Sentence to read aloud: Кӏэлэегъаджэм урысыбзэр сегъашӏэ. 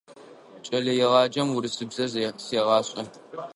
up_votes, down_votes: 1, 2